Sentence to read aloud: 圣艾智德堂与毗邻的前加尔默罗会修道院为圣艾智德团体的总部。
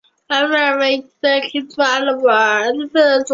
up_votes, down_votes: 0, 2